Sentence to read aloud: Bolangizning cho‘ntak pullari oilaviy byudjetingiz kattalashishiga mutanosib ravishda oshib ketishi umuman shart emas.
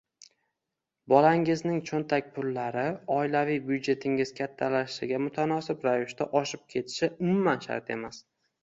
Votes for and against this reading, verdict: 2, 0, accepted